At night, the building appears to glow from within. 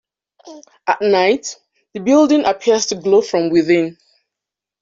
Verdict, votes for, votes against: accepted, 2, 0